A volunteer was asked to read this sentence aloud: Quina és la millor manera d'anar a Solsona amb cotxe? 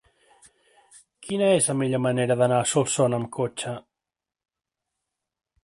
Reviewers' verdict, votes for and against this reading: accepted, 2, 0